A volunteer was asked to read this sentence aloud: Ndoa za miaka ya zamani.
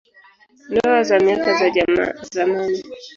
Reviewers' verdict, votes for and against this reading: rejected, 0, 3